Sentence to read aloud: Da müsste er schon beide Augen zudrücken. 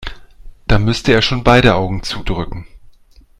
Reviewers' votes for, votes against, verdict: 2, 0, accepted